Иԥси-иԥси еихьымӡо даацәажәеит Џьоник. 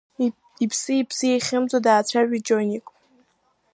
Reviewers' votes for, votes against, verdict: 2, 0, accepted